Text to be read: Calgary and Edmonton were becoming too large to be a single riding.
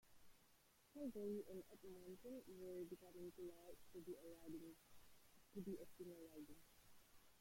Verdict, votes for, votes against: rejected, 0, 2